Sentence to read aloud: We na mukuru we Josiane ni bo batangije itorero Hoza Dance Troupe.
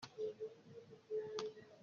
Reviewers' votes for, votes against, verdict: 0, 2, rejected